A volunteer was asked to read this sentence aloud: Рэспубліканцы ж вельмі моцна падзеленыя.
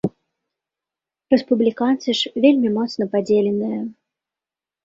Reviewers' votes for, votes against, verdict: 2, 0, accepted